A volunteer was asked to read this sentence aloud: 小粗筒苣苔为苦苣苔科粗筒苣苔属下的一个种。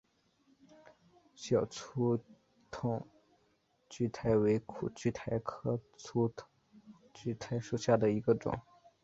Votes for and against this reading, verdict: 1, 2, rejected